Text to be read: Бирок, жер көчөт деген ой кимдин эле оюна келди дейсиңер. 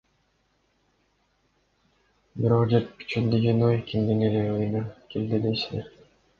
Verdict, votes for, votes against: rejected, 0, 2